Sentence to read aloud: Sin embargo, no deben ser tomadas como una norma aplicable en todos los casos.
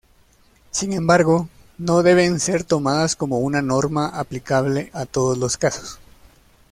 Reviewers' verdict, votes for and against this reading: rejected, 1, 2